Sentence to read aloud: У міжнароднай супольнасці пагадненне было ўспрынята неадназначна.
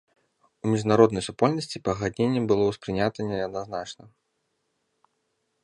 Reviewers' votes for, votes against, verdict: 2, 0, accepted